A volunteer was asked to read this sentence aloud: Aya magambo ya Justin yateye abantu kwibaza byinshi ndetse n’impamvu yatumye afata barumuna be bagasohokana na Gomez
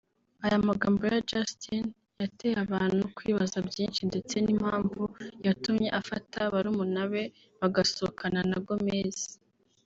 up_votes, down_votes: 0, 2